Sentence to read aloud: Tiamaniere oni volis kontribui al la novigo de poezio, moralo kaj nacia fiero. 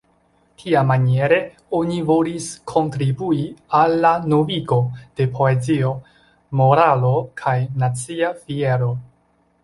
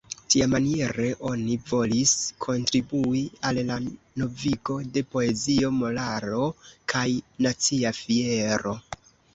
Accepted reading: first